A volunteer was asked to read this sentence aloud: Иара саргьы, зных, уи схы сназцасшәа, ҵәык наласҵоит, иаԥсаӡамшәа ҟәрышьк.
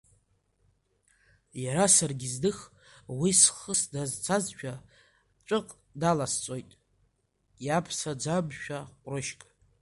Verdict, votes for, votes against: rejected, 0, 2